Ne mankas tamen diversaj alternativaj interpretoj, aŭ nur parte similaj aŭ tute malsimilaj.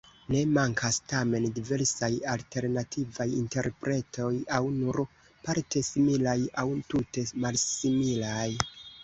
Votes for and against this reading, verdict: 2, 0, accepted